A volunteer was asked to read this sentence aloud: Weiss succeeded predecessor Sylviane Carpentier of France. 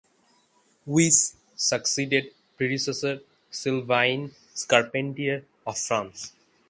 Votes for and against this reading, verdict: 3, 6, rejected